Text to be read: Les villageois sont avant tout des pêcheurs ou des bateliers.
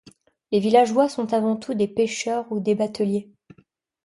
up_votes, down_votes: 2, 0